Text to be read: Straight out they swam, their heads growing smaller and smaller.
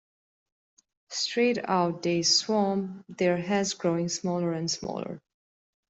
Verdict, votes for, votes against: accepted, 2, 0